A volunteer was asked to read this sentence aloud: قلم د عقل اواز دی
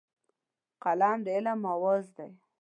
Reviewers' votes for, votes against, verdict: 1, 2, rejected